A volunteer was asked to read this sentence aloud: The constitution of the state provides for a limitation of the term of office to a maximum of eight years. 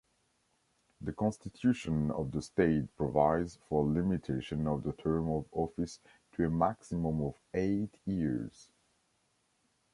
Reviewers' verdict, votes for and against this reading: rejected, 1, 2